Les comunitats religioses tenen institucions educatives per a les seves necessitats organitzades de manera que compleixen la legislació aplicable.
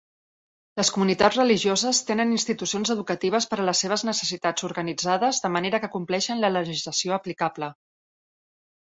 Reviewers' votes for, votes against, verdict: 6, 1, accepted